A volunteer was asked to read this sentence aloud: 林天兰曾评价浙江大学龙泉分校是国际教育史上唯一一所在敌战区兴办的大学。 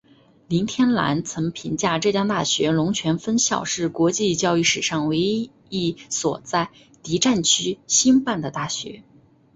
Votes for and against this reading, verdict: 2, 0, accepted